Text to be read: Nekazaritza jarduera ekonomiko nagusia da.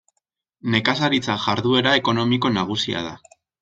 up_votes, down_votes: 2, 0